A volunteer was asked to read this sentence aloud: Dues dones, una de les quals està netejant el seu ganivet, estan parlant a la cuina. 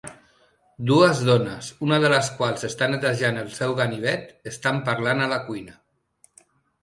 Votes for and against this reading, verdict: 3, 0, accepted